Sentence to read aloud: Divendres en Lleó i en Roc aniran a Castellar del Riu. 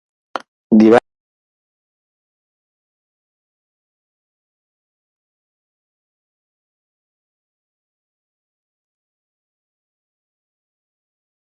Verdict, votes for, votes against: rejected, 0, 2